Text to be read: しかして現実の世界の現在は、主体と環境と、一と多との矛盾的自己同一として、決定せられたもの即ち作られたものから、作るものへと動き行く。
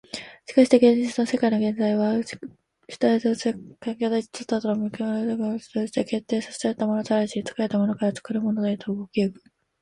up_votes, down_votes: 0, 3